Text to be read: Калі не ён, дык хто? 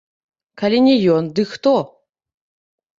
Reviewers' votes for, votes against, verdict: 0, 2, rejected